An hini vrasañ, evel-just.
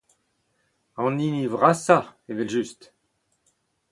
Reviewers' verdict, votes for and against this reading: accepted, 4, 0